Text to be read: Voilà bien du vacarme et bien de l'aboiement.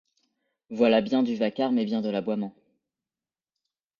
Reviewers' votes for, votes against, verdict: 2, 0, accepted